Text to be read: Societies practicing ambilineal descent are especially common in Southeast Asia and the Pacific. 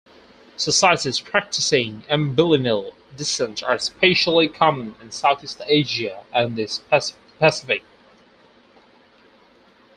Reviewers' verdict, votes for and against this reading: accepted, 4, 0